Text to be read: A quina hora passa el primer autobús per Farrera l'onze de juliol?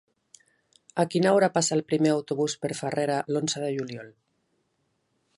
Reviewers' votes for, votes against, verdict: 2, 0, accepted